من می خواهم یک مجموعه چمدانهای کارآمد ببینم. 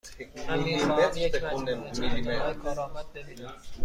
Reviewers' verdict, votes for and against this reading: rejected, 1, 2